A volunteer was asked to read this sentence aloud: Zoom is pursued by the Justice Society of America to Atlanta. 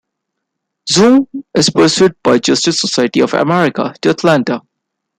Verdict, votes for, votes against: rejected, 0, 2